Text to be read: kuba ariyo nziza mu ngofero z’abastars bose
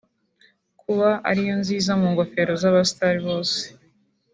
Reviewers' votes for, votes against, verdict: 2, 1, accepted